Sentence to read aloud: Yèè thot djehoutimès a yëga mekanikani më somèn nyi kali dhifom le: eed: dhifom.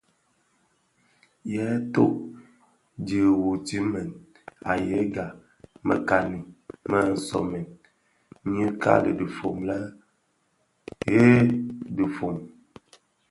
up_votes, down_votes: 0, 2